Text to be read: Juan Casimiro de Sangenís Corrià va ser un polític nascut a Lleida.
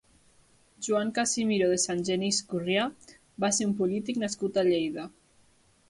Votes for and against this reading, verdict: 1, 2, rejected